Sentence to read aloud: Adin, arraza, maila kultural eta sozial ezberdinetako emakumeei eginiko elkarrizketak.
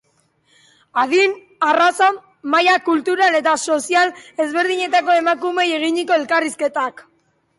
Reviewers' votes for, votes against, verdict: 5, 0, accepted